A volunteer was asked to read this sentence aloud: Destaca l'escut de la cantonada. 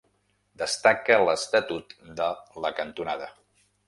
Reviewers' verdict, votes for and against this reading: rejected, 0, 2